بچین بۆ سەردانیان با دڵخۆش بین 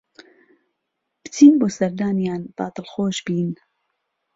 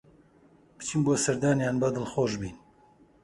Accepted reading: first